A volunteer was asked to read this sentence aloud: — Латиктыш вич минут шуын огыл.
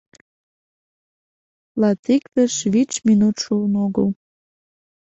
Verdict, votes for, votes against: rejected, 1, 2